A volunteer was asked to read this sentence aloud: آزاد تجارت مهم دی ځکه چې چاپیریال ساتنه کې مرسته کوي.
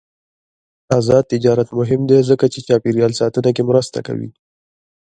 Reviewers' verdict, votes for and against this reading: accepted, 2, 0